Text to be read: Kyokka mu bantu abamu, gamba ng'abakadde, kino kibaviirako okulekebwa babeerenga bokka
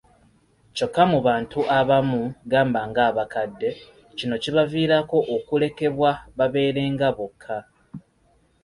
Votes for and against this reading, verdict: 2, 0, accepted